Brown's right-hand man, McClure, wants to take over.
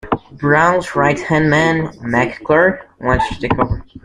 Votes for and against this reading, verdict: 0, 2, rejected